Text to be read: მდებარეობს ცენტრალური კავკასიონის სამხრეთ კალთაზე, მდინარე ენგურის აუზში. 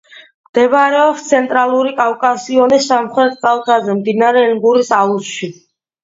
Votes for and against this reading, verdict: 2, 1, accepted